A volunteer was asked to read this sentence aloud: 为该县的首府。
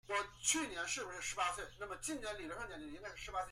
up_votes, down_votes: 0, 2